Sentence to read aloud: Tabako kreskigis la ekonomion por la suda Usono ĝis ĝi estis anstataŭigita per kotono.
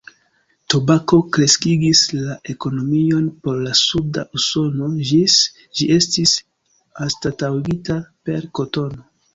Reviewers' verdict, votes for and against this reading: accepted, 2, 1